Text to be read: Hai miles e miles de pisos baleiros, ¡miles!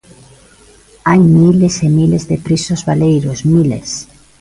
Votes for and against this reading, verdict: 2, 0, accepted